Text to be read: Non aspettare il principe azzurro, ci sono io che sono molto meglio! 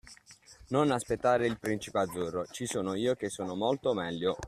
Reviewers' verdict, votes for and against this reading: rejected, 1, 2